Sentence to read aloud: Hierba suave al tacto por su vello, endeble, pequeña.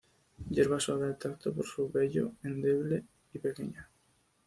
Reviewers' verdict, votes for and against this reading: accepted, 2, 0